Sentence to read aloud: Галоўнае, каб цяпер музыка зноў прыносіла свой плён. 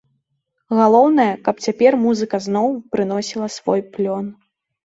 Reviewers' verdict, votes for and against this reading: accepted, 2, 0